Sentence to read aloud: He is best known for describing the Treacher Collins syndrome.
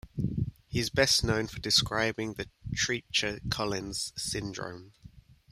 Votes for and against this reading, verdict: 2, 0, accepted